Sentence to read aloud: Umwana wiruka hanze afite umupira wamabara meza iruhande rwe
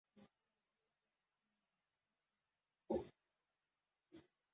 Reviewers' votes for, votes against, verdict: 0, 2, rejected